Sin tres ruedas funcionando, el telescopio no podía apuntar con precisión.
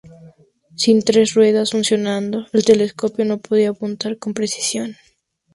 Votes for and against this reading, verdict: 2, 0, accepted